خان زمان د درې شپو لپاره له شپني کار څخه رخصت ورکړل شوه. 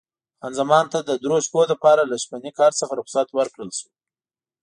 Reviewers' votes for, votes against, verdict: 2, 0, accepted